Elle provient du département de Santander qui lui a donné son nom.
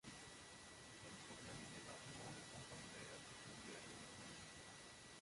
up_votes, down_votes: 0, 2